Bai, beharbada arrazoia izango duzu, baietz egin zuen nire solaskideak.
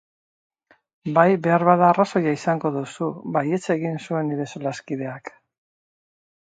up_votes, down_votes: 4, 0